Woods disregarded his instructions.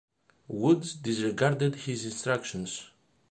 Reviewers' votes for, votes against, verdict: 2, 0, accepted